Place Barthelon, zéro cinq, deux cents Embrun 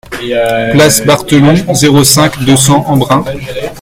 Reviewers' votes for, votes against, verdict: 0, 2, rejected